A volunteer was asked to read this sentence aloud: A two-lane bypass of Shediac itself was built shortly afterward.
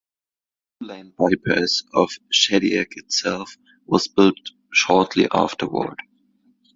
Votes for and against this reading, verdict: 2, 1, accepted